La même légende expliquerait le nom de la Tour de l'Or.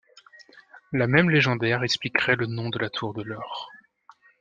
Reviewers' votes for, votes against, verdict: 1, 2, rejected